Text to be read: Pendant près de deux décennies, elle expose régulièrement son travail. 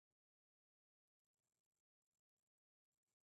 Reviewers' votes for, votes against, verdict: 0, 2, rejected